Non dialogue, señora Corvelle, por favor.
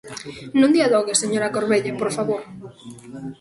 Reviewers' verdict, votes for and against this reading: rejected, 1, 2